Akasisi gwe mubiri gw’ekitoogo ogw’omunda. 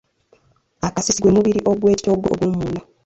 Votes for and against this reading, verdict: 0, 2, rejected